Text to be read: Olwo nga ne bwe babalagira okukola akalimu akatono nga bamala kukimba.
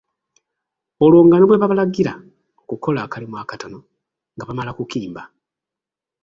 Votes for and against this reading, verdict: 1, 2, rejected